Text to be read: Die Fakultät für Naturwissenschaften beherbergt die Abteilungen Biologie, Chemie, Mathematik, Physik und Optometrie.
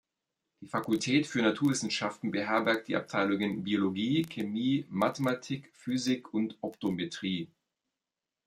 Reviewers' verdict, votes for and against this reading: rejected, 0, 2